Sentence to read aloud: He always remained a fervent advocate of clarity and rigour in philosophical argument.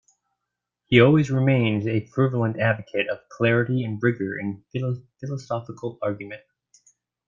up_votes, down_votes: 1, 2